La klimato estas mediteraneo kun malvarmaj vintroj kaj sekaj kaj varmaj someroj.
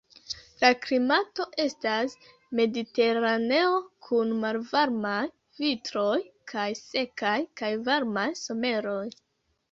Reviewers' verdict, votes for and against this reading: rejected, 0, 3